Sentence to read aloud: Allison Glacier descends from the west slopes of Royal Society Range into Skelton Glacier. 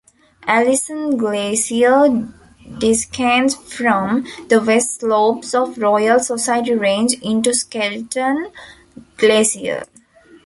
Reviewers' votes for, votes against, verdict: 0, 2, rejected